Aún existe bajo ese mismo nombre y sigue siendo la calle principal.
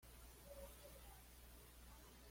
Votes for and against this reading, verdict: 1, 2, rejected